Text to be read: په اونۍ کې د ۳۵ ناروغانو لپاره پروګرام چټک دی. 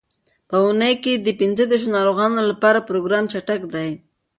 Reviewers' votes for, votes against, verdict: 0, 2, rejected